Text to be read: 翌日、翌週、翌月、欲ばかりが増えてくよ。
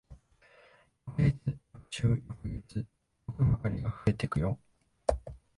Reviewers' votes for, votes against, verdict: 8, 19, rejected